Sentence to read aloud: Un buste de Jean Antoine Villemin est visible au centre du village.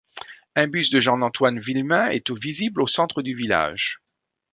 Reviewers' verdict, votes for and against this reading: rejected, 1, 2